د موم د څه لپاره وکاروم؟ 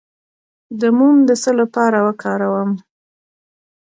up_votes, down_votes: 1, 2